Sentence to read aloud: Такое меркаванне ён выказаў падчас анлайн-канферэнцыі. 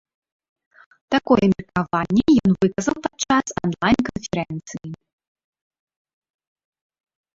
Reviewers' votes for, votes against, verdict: 0, 2, rejected